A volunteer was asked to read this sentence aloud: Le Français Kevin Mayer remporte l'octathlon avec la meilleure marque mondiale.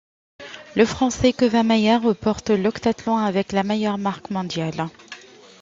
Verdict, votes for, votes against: accepted, 2, 0